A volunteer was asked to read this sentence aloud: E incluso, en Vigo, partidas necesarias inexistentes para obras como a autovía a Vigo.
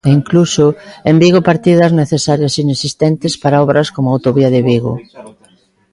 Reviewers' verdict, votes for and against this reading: rejected, 0, 2